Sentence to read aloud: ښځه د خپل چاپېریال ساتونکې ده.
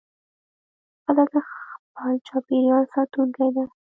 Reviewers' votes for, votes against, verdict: 1, 2, rejected